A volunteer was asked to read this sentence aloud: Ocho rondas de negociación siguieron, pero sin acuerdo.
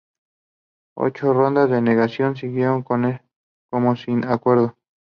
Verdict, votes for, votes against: rejected, 0, 2